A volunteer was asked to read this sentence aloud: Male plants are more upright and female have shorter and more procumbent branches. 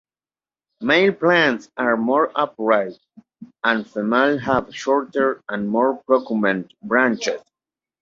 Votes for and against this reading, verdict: 2, 0, accepted